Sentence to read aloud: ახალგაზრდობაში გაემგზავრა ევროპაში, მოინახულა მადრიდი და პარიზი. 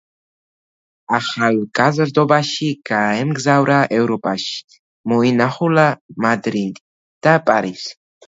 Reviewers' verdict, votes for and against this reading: accepted, 2, 1